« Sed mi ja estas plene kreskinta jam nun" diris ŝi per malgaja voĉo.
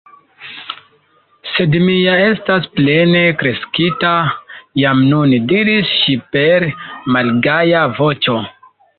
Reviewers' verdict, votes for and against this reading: rejected, 0, 2